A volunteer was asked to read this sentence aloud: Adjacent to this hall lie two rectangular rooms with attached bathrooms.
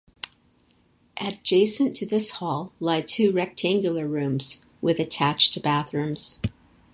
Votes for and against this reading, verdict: 4, 0, accepted